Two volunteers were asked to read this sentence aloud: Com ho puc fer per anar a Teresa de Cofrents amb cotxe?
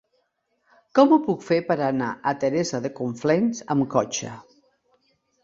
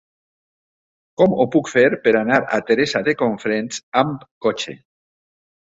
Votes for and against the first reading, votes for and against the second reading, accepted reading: 2, 4, 2, 0, second